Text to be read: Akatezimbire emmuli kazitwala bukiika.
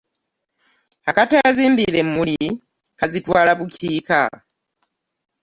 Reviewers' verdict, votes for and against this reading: rejected, 1, 2